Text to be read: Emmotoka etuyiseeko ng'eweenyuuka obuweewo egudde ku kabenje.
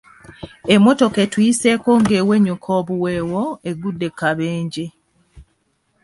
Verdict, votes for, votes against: accepted, 2, 0